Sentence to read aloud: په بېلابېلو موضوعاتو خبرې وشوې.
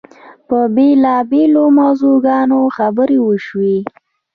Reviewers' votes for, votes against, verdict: 3, 0, accepted